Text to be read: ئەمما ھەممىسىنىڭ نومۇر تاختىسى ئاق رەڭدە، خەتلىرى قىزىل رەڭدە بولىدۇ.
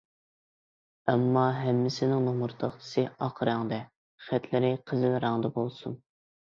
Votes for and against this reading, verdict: 0, 2, rejected